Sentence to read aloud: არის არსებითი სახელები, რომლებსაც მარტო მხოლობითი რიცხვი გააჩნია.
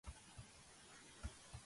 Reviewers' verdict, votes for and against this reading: rejected, 0, 2